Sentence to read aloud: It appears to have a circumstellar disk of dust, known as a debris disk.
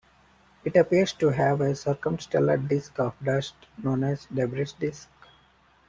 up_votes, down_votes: 0, 2